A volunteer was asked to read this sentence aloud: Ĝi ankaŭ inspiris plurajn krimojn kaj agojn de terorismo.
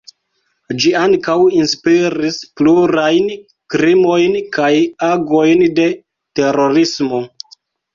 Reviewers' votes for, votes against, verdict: 1, 2, rejected